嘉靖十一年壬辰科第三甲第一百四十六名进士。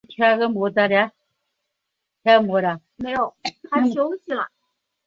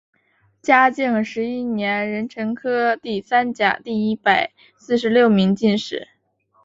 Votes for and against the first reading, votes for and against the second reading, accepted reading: 0, 3, 4, 1, second